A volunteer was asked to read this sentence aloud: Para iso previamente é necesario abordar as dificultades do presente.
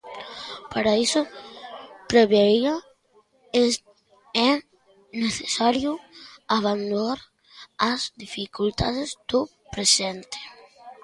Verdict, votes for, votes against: rejected, 0, 2